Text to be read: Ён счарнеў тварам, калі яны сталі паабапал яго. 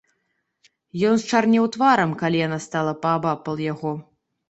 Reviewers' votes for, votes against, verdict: 1, 2, rejected